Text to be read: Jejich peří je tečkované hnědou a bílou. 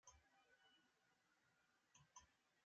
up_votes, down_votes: 0, 2